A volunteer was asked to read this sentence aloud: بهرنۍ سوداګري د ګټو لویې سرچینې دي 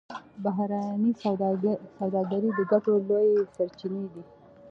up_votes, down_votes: 2, 0